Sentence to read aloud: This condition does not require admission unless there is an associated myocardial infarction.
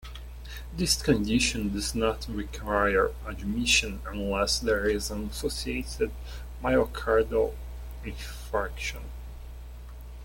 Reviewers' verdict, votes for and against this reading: accepted, 2, 0